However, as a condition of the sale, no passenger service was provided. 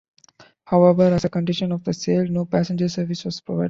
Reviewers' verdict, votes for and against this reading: accepted, 2, 0